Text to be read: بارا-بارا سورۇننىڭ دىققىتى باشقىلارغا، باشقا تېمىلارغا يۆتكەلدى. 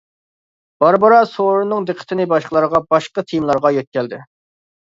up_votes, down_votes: 0, 2